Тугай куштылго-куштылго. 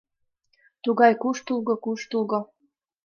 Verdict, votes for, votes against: accepted, 2, 0